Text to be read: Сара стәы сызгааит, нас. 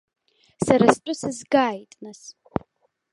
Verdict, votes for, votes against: accepted, 2, 0